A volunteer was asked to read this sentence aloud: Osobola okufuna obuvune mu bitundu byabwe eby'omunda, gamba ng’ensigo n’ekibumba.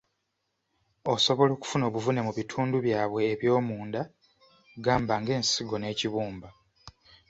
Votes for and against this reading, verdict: 0, 2, rejected